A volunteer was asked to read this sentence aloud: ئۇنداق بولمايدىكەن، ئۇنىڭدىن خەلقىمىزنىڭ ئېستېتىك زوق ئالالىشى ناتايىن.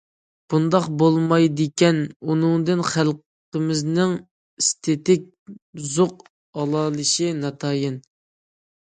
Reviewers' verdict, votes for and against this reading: accepted, 2, 1